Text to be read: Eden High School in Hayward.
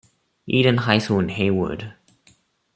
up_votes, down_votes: 2, 0